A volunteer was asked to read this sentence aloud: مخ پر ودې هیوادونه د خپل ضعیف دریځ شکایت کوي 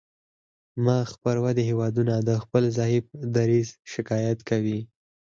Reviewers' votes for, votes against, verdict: 2, 4, rejected